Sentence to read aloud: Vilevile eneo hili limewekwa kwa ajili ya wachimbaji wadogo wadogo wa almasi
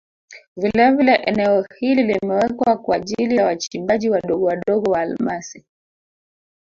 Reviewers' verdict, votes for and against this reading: rejected, 0, 2